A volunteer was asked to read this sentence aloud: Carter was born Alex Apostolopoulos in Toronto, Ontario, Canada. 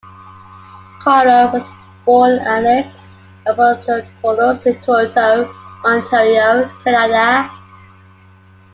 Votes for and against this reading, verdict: 2, 0, accepted